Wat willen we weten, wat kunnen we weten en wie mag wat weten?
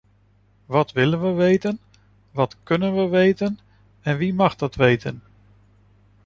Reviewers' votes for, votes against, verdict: 0, 2, rejected